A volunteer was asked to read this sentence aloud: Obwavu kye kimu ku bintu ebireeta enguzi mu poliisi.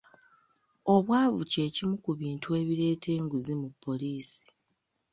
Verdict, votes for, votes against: accepted, 2, 0